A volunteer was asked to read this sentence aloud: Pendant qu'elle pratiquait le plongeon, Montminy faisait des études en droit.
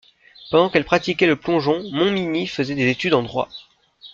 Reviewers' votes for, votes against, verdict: 0, 2, rejected